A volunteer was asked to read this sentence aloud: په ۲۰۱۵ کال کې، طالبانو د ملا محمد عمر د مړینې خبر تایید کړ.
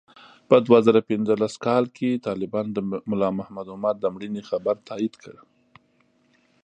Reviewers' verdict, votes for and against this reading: rejected, 0, 2